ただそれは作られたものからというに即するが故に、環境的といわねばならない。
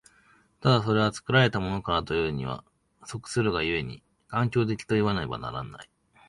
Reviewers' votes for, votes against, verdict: 1, 2, rejected